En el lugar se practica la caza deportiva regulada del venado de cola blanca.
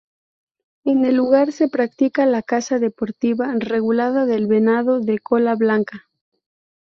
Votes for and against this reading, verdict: 4, 0, accepted